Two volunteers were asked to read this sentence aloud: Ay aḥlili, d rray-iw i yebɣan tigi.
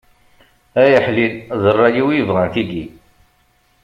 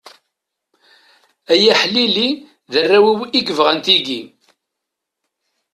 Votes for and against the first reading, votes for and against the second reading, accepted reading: 2, 0, 1, 2, first